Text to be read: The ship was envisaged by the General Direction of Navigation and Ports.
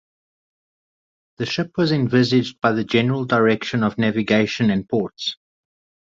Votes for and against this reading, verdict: 4, 0, accepted